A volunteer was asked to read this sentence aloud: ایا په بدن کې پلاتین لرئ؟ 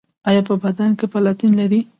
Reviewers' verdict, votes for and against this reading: accepted, 2, 0